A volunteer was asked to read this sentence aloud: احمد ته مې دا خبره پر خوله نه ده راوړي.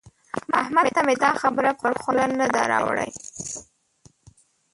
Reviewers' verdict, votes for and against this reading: rejected, 0, 2